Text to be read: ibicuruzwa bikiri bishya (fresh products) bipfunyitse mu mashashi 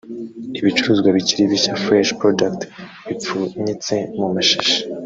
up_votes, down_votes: 1, 2